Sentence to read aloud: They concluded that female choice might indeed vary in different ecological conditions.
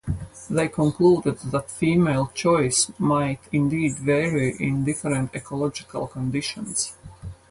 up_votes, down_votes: 0, 2